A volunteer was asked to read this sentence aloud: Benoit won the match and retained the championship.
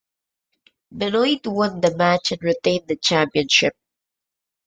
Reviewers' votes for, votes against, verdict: 3, 0, accepted